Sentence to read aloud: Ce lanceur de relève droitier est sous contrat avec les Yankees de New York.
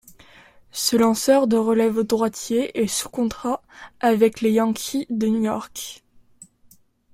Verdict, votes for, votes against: accepted, 2, 1